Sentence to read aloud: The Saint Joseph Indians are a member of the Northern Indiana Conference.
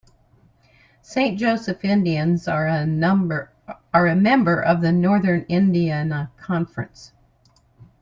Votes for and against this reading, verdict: 0, 2, rejected